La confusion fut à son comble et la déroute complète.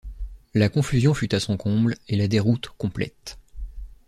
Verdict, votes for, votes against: accepted, 2, 0